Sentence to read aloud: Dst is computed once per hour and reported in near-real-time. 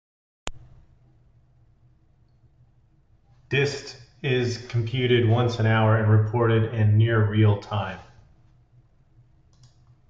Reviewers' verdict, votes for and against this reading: rejected, 1, 2